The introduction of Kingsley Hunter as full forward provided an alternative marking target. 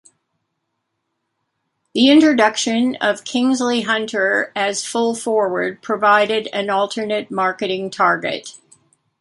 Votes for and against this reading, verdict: 1, 3, rejected